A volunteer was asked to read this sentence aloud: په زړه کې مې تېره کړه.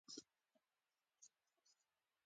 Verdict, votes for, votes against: rejected, 1, 2